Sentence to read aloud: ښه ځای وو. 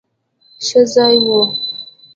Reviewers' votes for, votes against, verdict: 2, 0, accepted